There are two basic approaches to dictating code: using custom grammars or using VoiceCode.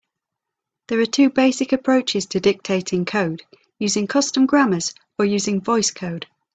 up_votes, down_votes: 2, 1